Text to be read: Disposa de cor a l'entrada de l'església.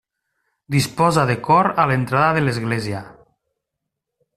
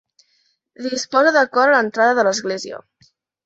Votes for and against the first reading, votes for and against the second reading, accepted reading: 3, 0, 1, 2, first